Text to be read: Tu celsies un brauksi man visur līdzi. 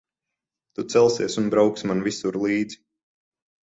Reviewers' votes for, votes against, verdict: 12, 0, accepted